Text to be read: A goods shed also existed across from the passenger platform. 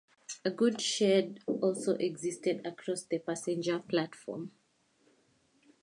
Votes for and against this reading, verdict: 0, 2, rejected